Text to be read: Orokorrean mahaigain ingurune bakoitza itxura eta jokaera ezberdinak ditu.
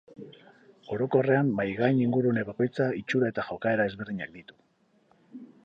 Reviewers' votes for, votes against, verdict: 6, 2, accepted